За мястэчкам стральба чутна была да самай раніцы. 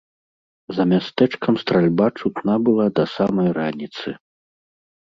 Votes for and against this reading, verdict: 2, 0, accepted